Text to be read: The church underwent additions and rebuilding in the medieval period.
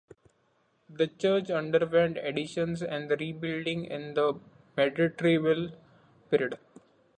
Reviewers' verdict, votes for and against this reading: rejected, 0, 2